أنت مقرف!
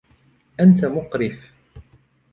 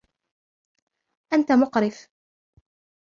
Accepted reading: first